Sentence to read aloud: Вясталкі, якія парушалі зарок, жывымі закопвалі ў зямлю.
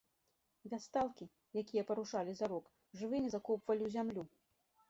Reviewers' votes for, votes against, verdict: 2, 0, accepted